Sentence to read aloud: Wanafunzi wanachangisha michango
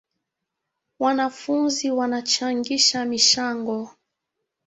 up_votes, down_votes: 2, 0